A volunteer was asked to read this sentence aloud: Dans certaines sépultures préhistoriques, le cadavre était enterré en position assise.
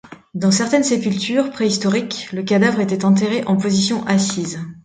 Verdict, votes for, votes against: accepted, 2, 0